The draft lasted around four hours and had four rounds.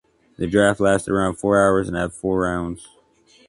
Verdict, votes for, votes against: accepted, 2, 0